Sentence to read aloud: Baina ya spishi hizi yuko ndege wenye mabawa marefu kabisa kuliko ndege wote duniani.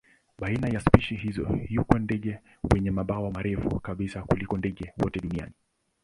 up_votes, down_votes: 0, 2